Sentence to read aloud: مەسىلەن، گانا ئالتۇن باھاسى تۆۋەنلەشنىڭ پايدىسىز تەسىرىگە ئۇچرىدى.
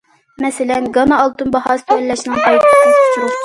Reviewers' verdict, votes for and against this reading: rejected, 0, 2